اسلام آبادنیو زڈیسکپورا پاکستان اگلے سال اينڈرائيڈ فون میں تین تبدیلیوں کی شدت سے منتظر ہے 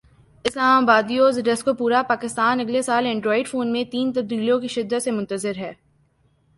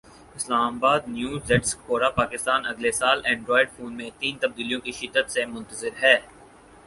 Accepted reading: first